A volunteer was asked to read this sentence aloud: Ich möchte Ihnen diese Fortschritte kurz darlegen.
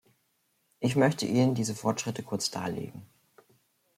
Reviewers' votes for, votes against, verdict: 2, 0, accepted